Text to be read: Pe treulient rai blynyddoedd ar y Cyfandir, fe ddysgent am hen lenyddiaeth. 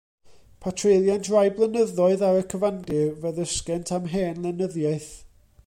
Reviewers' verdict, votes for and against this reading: rejected, 1, 2